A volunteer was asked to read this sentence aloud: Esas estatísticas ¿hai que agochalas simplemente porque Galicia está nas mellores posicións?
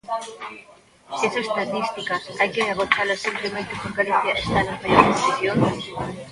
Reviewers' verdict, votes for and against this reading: rejected, 0, 2